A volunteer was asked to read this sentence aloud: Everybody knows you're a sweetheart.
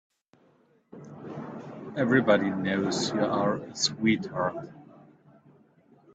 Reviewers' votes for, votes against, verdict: 0, 3, rejected